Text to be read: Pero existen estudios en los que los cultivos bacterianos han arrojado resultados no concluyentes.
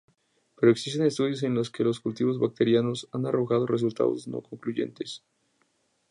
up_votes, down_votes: 2, 0